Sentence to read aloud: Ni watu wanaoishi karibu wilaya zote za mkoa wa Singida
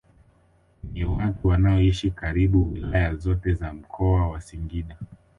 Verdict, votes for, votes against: rejected, 1, 2